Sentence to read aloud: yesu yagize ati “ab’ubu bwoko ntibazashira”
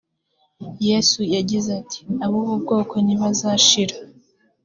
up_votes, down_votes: 4, 0